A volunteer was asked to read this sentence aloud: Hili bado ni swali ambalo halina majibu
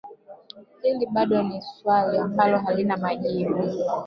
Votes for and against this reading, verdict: 1, 2, rejected